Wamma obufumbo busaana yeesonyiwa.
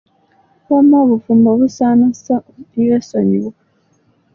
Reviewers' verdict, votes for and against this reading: rejected, 0, 2